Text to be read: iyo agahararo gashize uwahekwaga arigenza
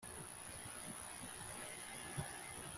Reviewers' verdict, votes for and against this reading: rejected, 0, 2